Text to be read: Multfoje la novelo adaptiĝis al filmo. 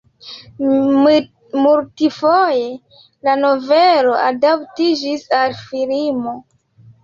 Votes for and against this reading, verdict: 2, 0, accepted